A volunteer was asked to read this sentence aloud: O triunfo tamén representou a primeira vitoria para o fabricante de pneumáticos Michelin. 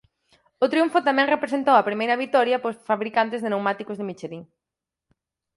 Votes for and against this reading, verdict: 0, 4, rejected